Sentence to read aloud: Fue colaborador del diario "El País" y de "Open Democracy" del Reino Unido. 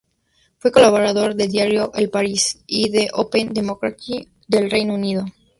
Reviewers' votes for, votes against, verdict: 0, 2, rejected